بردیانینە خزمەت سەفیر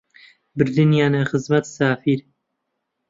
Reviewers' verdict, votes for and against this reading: rejected, 0, 2